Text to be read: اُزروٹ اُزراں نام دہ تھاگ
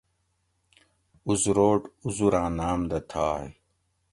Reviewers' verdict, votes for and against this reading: accepted, 2, 0